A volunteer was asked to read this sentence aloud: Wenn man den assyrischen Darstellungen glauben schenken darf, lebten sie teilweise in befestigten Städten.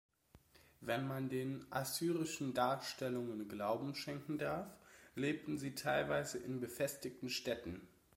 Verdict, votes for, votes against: accepted, 2, 0